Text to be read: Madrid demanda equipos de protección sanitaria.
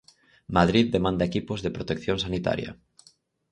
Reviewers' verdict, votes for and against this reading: accepted, 4, 0